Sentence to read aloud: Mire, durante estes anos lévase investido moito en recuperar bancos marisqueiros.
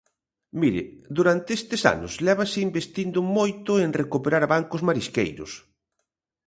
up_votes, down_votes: 1, 2